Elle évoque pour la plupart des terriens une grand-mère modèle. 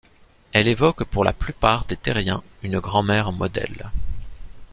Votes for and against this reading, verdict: 2, 0, accepted